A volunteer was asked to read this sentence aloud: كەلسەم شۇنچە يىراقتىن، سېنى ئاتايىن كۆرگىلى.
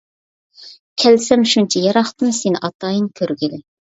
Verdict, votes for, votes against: accepted, 2, 0